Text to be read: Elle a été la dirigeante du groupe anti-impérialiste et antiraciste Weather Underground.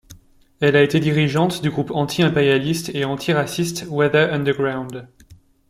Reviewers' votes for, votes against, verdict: 1, 2, rejected